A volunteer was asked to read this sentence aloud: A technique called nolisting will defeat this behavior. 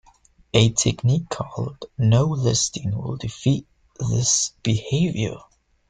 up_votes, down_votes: 1, 2